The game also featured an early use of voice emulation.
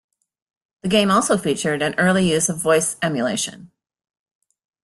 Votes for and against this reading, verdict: 2, 0, accepted